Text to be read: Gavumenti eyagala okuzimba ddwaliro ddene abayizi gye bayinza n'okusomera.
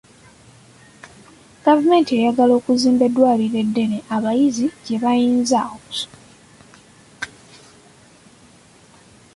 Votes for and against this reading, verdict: 1, 2, rejected